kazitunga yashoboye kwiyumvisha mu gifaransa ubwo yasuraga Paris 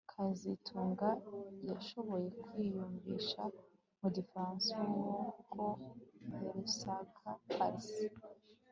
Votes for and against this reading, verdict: 1, 2, rejected